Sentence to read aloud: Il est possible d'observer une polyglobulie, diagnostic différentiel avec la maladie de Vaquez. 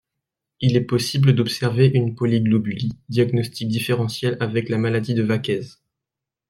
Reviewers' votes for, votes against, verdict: 2, 0, accepted